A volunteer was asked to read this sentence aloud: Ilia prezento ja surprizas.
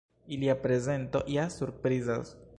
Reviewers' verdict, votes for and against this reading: rejected, 0, 2